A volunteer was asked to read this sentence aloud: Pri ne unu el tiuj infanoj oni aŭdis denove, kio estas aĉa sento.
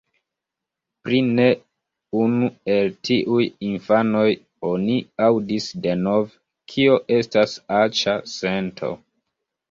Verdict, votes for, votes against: accepted, 2, 1